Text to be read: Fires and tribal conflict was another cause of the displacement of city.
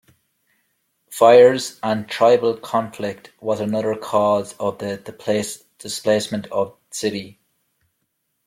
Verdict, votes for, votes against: rejected, 1, 2